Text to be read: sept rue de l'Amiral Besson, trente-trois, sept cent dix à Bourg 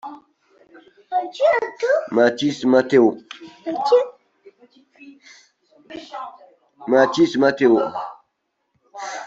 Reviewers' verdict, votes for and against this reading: rejected, 0, 2